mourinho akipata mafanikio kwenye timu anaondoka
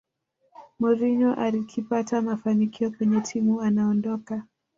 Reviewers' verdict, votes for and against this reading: rejected, 0, 2